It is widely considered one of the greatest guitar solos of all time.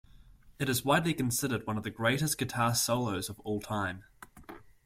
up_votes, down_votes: 2, 0